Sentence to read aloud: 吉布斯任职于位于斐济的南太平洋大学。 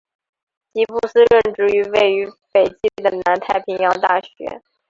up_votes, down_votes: 1, 2